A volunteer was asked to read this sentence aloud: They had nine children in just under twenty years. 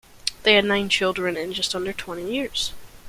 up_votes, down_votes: 2, 0